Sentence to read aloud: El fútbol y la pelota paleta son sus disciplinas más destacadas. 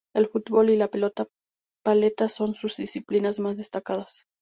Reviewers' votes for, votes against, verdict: 2, 0, accepted